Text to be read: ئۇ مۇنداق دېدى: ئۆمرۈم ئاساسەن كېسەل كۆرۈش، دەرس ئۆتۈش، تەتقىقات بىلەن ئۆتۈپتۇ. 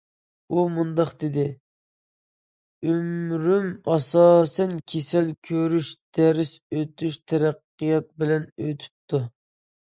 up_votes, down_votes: 1, 2